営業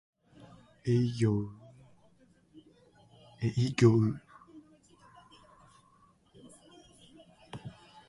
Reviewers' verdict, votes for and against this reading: accepted, 2, 0